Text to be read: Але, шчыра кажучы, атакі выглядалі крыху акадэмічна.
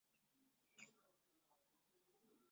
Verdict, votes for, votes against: rejected, 0, 2